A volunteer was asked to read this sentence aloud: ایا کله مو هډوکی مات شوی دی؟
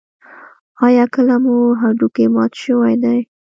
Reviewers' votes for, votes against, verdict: 1, 2, rejected